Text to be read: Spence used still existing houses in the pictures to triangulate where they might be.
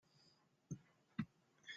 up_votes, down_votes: 0, 2